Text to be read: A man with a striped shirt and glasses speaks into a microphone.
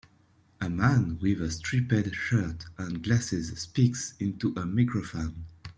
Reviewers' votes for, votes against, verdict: 0, 2, rejected